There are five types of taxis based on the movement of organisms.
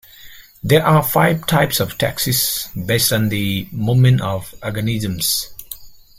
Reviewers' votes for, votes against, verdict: 0, 2, rejected